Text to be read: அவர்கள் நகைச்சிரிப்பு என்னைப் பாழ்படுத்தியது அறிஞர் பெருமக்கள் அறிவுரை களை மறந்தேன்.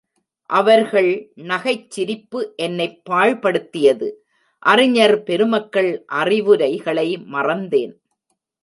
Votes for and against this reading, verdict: 0, 2, rejected